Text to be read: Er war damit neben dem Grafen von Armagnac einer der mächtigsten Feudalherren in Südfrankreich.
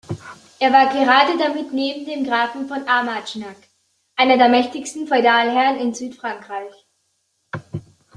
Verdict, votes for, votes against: rejected, 0, 2